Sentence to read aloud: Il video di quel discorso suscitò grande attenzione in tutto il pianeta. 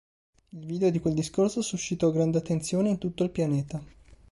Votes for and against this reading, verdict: 5, 0, accepted